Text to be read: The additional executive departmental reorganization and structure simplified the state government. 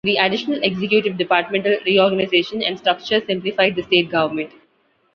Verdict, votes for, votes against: accepted, 2, 0